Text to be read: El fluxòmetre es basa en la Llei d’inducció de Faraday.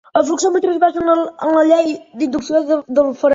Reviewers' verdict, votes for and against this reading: rejected, 1, 2